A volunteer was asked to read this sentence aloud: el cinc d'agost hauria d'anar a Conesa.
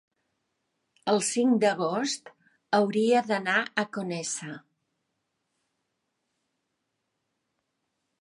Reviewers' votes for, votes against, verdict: 1, 2, rejected